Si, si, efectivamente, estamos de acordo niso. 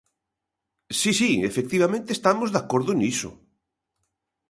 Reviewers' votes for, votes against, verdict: 2, 0, accepted